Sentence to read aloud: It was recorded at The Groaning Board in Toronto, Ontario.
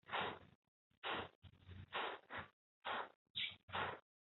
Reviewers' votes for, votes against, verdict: 0, 2, rejected